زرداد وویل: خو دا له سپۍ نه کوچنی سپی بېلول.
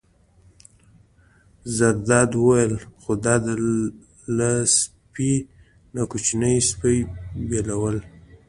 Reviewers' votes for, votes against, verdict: 2, 1, accepted